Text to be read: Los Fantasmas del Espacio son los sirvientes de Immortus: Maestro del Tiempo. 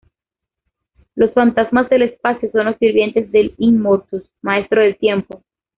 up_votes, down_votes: 2, 1